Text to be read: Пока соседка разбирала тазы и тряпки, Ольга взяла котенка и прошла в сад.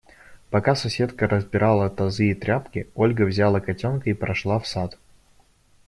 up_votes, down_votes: 1, 2